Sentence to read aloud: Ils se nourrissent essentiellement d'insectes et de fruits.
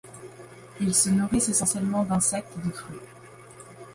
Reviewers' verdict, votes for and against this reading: rejected, 1, 2